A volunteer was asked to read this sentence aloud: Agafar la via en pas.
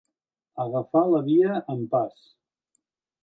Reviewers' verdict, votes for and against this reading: accepted, 2, 0